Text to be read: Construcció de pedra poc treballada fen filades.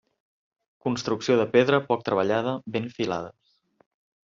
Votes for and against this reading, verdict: 0, 2, rejected